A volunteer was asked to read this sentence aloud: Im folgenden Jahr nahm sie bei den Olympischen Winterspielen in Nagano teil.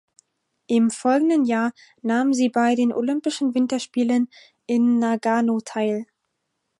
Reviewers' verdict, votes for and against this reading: accepted, 4, 0